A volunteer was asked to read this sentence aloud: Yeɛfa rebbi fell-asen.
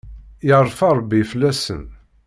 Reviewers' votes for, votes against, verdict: 0, 2, rejected